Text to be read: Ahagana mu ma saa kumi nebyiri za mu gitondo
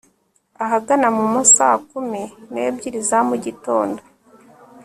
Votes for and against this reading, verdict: 2, 0, accepted